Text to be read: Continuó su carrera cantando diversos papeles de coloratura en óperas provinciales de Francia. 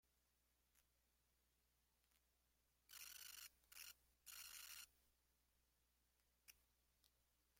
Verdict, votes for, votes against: rejected, 0, 2